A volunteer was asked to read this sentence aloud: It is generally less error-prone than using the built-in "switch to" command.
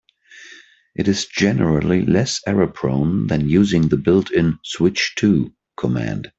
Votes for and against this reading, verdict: 2, 0, accepted